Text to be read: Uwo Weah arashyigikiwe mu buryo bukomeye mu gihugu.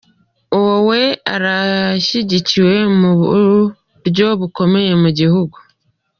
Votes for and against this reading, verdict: 2, 0, accepted